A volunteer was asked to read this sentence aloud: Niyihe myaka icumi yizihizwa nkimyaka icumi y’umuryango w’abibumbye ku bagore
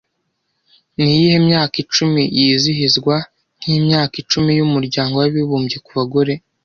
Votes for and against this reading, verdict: 2, 0, accepted